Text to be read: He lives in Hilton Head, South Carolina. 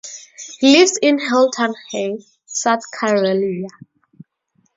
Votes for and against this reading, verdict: 4, 0, accepted